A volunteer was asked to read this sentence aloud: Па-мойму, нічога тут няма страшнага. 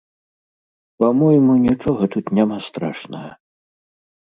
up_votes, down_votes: 2, 0